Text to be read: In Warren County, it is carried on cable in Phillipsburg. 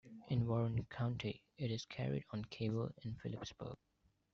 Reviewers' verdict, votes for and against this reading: rejected, 0, 2